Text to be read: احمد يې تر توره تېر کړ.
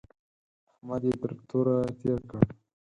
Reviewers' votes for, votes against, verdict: 2, 4, rejected